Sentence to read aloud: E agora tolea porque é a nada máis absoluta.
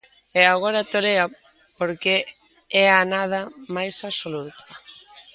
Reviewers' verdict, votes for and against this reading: rejected, 0, 2